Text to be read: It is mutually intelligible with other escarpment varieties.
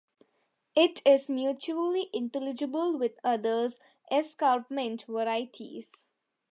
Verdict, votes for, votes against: accepted, 2, 1